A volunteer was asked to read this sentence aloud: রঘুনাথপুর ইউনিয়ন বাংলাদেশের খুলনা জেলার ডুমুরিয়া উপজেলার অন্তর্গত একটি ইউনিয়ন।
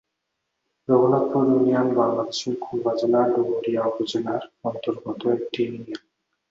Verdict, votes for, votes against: accepted, 4, 0